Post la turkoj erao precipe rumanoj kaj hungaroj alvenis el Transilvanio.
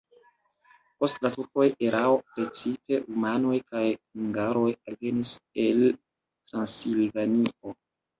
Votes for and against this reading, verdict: 0, 2, rejected